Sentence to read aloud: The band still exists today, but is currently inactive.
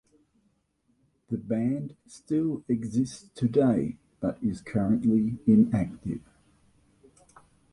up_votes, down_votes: 2, 0